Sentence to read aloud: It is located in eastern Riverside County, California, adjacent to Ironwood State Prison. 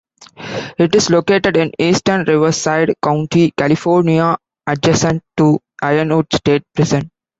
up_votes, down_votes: 2, 1